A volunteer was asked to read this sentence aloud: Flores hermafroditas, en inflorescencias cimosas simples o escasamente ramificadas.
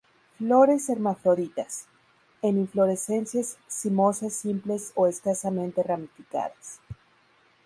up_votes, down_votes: 2, 2